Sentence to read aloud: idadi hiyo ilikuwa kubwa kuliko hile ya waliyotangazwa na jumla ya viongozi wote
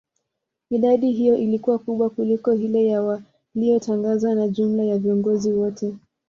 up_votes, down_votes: 2, 0